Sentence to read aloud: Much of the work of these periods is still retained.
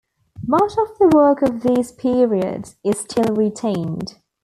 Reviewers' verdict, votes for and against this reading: accepted, 2, 0